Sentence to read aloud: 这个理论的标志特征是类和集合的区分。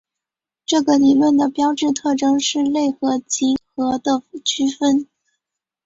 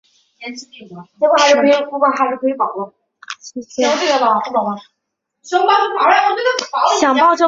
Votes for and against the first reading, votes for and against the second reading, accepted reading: 4, 1, 0, 2, first